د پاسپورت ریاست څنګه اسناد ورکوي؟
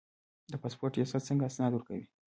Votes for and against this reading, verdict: 1, 2, rejected